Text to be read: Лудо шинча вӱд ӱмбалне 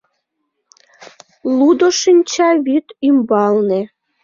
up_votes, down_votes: 2, 0